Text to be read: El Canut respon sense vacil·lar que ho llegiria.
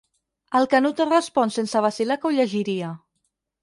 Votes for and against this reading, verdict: 2, 4, rejected